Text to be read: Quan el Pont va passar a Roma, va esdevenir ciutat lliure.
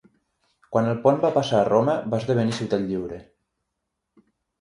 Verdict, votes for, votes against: accepted, 6, 0